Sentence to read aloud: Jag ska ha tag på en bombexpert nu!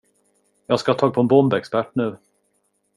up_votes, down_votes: 2, 0